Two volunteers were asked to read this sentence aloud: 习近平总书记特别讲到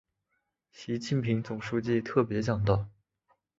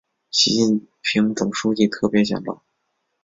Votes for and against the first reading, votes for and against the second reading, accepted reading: 2, 0, 1, 2, first